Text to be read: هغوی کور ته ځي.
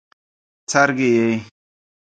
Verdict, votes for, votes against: rejected, 1, 2